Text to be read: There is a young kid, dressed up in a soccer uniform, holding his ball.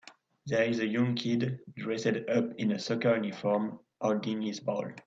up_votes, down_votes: 1, 2